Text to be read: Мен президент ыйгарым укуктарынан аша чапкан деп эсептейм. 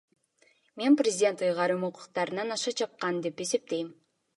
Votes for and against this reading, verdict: 2, 1, accepted